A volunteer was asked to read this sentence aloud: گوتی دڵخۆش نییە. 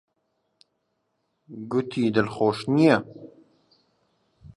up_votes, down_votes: 5, 2